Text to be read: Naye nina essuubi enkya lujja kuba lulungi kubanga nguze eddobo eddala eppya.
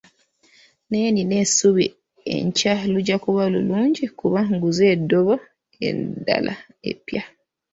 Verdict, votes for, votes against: rejected, 1, 2